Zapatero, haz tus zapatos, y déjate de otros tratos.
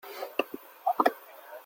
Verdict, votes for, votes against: rejected, 0, 2